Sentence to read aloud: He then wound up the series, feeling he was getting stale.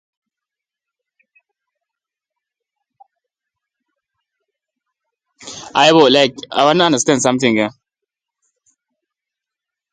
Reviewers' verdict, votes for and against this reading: rejected, 0, 2